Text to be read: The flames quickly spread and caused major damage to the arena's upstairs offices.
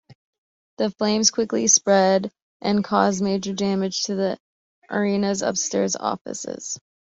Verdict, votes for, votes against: accepted, 2, 0